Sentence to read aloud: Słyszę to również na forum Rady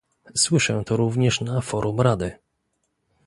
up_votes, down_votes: 2, 0